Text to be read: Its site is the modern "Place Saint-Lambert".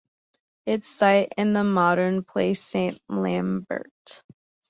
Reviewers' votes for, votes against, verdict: 1, 2, rejected